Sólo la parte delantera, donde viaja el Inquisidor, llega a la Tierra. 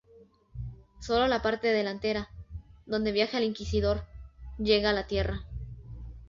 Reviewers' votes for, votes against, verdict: 2, 0, accepted